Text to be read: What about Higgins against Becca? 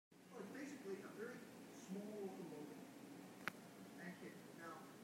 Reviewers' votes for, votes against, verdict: 0, 2, rejected